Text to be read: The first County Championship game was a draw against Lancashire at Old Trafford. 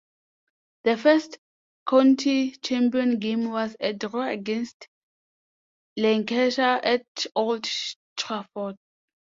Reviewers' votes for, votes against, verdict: 0, 2, rejected